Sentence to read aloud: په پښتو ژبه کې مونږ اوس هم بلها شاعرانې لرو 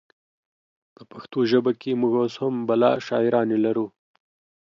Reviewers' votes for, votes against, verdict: 2, 0, accepted